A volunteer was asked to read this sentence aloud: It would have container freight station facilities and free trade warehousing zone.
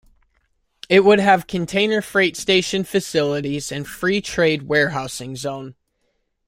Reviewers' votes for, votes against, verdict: 2, 0, accepted